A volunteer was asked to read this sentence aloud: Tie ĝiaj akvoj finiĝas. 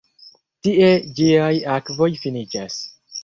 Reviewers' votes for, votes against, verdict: 2, 0, accepted